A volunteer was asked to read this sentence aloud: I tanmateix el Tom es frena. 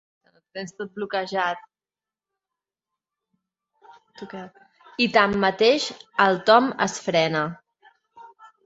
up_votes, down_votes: 0, 2